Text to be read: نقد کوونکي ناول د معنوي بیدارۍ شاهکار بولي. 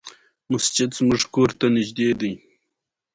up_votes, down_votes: 2, 0